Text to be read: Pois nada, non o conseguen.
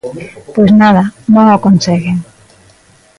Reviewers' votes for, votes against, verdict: 2, 0, accepted